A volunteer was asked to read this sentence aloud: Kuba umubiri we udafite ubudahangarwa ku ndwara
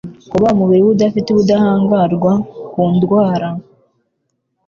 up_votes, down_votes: 2, 0